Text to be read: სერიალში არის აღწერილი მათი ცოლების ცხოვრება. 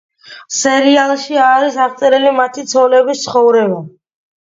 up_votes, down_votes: 2, 0